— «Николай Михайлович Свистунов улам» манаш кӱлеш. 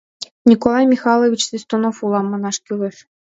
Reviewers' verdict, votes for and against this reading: accepted, 2, 0